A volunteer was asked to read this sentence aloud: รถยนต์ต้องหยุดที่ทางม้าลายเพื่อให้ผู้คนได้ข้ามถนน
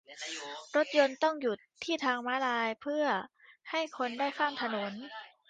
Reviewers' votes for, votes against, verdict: 0, 2, rejected